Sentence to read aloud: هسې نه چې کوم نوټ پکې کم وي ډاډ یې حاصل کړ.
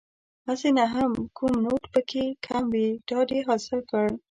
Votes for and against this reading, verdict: 1, 2, rejected